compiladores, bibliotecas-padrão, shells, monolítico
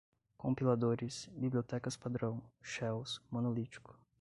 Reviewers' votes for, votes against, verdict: 2, 0, accepted